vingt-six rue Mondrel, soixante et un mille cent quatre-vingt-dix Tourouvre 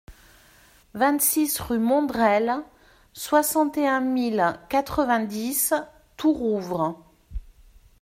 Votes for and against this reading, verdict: 1, 2, rejected